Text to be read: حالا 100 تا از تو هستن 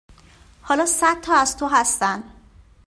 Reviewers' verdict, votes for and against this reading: rejected, 0, 2